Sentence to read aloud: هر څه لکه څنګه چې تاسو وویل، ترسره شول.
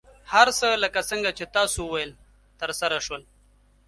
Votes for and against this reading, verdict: 2, 0, accepted